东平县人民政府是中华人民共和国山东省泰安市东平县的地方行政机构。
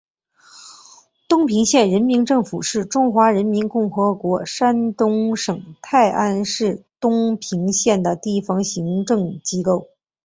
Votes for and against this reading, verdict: 0, 2, rejected